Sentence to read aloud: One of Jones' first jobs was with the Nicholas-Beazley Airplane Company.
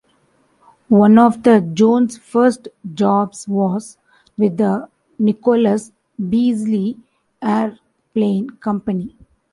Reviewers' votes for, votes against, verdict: 0, 3, rejected